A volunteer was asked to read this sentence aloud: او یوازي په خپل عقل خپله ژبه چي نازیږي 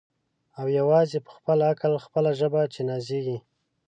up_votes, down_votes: 1, 2